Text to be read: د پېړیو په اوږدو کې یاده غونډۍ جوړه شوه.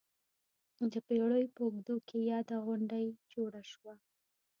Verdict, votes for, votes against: accepted, 2, 1